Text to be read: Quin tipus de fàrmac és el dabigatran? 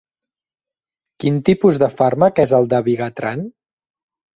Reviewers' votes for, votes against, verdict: 2, 1, accepted